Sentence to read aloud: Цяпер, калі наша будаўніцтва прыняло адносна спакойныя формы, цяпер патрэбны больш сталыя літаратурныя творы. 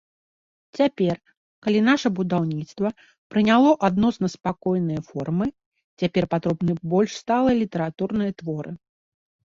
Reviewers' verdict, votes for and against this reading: rejected, 2, 3